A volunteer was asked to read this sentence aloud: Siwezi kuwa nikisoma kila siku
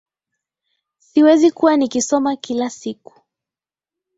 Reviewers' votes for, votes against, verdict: 5, 0, accepted